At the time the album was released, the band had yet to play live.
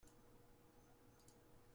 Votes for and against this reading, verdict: 0, 2, rejected